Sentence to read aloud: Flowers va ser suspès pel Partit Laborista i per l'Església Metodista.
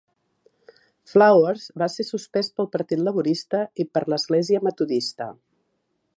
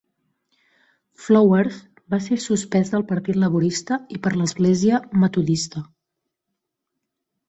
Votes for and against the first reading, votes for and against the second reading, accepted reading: 2, 0, 1, 2, first